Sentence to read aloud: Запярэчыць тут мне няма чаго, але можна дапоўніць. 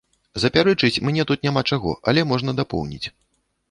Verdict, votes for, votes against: rejected, 0, 2